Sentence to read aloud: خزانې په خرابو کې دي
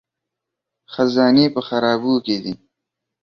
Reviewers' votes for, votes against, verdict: 2, 0, accepted